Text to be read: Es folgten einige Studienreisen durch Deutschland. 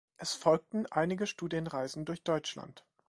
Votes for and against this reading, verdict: 2, 0, accepted